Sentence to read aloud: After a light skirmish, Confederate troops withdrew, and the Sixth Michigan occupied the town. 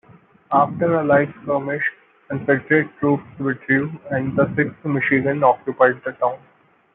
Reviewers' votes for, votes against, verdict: 0, 2, rejected